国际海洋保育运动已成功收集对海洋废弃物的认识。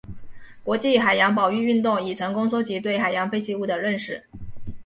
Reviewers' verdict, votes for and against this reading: accepted, 2, 0